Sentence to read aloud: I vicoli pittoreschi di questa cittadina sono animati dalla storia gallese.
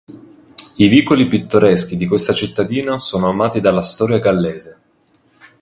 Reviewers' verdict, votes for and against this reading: rejected, 1, 2